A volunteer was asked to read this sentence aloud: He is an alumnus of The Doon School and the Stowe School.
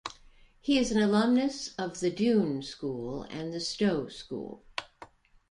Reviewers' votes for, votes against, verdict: 2, 0, accepted